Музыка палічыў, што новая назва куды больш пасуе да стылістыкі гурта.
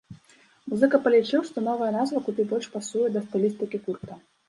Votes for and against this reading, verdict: 1, 2, rejected